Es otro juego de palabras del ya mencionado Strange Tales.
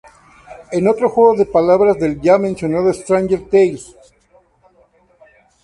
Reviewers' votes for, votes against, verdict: 2, 2, rejected